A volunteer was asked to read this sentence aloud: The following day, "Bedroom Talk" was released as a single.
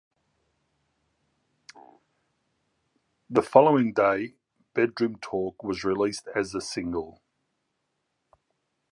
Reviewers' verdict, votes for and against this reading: accepted, 2, 1